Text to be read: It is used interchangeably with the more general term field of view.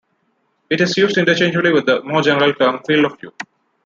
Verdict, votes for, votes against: rejected, 1, 2